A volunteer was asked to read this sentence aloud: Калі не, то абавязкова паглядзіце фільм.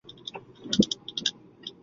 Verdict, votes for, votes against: rejected, 0, 2